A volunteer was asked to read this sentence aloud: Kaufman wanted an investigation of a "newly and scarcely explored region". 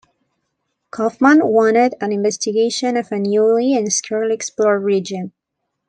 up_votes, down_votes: 1, 2